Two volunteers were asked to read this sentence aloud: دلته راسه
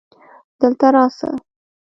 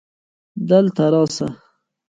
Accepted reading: first